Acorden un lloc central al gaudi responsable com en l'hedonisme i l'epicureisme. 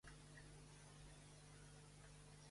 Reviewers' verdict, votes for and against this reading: rejected, 0, 2